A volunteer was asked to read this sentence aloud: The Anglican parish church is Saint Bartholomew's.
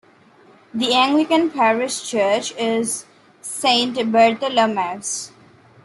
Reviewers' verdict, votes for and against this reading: rejected, 1, 2